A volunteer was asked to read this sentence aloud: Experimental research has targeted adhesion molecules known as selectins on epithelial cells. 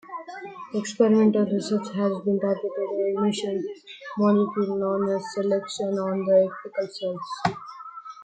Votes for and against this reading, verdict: 1, 2, rejected